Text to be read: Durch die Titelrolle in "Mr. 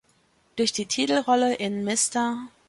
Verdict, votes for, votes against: rejected, 1, 2